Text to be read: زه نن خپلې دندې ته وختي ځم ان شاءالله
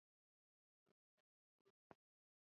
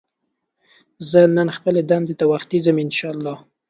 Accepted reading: second